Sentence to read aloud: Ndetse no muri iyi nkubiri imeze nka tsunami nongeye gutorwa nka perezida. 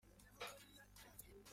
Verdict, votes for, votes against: rejected, 0, 3